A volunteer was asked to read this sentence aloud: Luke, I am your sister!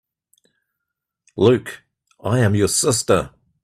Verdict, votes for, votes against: accepted, 2, 0